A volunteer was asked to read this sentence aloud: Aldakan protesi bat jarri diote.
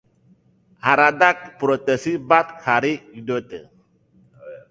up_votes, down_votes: 0, 2